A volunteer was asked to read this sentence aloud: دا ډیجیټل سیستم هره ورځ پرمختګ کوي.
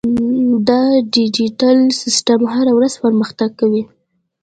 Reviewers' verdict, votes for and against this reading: accepted, 2, 0